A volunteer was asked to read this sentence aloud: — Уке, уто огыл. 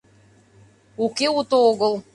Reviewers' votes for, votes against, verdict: 2, 0, accepted